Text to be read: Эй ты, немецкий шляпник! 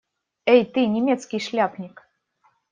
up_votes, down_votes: 2, 0